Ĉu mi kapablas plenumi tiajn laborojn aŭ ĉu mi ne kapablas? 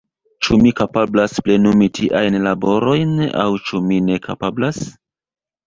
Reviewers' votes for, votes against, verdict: 0, 2, rejected